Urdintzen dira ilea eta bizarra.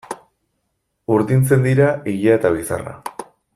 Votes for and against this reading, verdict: 2, 0, accepted